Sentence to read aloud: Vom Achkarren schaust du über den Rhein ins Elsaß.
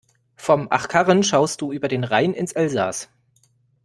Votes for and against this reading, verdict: 2, 0, accepted